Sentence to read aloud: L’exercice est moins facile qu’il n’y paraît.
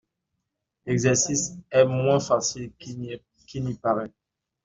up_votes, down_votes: 0, 2